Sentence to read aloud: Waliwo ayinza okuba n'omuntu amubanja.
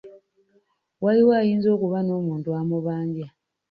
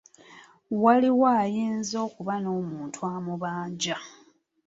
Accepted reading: second